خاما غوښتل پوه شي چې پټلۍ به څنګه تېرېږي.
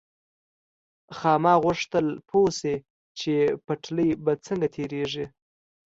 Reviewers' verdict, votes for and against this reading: accepted, 2, 0